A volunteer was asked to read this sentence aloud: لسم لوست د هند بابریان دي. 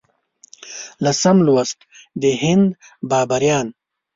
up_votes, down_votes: 0, 2